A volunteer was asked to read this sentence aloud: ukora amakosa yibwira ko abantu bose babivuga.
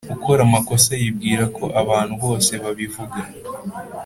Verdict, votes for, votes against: accepted, 2, 0